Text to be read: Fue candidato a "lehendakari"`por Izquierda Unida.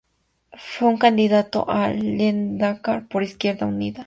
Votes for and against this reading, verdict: 0, 2, rejected